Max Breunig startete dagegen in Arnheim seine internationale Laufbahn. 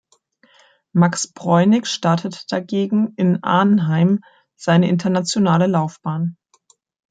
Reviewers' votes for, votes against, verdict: 2, 1, accepted